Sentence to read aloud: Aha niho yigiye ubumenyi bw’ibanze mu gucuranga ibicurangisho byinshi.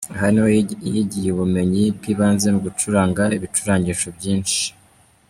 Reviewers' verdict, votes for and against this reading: accepted, 2, 1